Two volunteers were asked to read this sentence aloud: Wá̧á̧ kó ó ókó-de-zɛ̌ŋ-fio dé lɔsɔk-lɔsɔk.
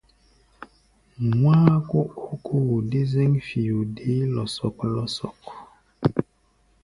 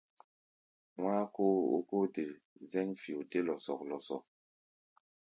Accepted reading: second